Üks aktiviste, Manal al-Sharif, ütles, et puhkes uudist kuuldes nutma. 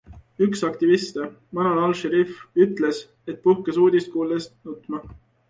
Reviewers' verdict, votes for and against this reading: accepted, 2, 0